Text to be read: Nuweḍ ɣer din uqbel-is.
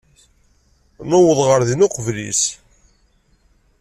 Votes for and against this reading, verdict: 2, 0, accepted